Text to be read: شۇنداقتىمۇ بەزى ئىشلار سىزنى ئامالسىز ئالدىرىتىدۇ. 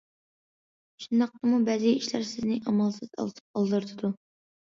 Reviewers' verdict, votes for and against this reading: rejected, 0, 2